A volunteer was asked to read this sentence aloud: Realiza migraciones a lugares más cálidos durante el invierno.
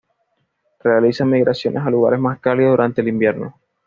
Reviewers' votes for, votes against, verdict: 2, 0, accepted